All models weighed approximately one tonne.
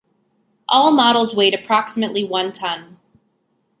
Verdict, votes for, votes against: accepted, 2, 0